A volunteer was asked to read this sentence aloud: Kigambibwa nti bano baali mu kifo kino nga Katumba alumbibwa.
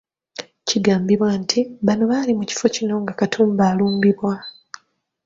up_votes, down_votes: 2, 0